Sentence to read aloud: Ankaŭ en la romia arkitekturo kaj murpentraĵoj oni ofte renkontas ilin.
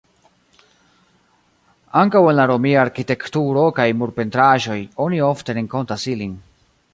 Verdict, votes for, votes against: accepted, 2, 0